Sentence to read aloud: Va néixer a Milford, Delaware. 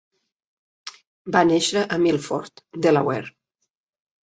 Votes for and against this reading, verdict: 3, 0, accepted